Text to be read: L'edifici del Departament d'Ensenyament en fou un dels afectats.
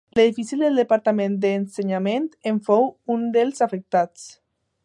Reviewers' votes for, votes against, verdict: 2, 0, accepted